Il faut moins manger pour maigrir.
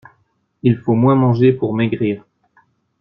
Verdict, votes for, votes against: accepted, 2, 0